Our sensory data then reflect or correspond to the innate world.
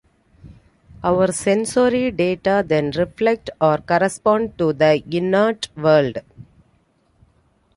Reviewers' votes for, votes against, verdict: 2, 1, accepted